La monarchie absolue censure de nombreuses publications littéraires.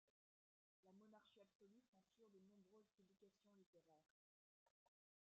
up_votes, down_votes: 0, 2